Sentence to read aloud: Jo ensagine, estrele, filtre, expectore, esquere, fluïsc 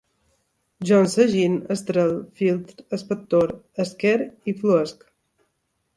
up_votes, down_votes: 3, 0